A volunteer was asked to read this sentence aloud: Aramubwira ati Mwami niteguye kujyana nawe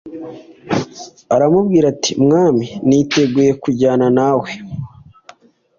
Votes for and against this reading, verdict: 2, 0, accepted